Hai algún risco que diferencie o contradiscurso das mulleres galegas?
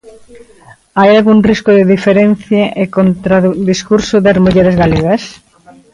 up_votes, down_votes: 1, 2